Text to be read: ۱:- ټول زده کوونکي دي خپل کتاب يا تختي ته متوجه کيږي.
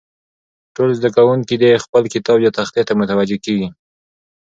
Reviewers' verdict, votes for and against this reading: rejected, 0, 2